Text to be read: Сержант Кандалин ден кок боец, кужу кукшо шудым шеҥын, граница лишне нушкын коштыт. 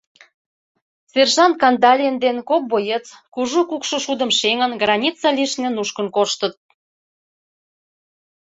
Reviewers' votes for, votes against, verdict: 2, 0, accepted